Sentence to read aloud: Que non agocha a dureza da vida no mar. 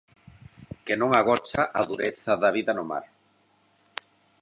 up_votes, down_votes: 0, 2